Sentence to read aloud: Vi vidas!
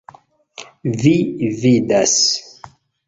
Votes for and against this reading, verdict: 2, 0, accepted